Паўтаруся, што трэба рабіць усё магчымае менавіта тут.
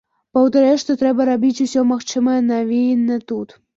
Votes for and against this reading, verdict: 0, 2, rejected